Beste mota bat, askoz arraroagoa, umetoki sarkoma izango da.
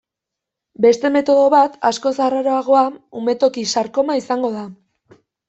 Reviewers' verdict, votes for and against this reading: rejected, 0, 2